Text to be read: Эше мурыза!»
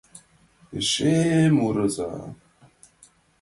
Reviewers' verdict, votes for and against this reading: accepted, 2, 0